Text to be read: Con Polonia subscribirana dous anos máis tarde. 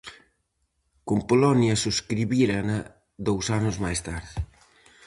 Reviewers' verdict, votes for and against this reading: rejected, 0, 4